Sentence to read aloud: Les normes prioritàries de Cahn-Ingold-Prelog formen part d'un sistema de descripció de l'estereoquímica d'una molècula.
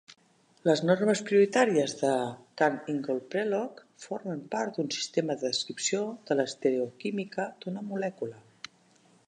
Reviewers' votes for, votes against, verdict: 2, 0, accepted